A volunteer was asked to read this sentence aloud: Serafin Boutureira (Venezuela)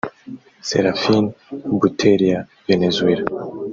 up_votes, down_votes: 3, 0